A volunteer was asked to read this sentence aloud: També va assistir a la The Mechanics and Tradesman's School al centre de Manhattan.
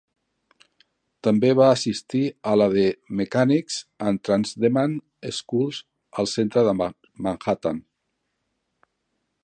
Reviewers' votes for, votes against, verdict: 1, 2, rejected